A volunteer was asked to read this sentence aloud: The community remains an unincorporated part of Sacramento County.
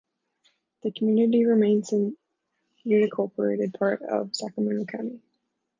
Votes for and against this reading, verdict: 1, 2, rejected